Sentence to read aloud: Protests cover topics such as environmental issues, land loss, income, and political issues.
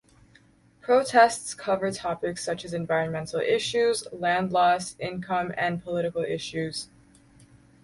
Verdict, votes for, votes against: accepted, 4, 0